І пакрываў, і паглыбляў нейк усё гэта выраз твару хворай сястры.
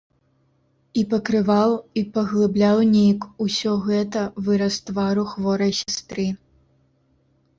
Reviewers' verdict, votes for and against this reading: accepted, 2, 0